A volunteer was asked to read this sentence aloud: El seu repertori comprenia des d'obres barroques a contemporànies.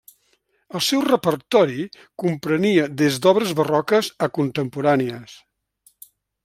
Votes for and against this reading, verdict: 3, 0, accepted